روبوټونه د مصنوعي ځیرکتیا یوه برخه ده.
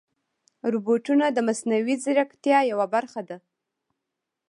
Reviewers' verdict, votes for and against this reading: rejected, 0, 2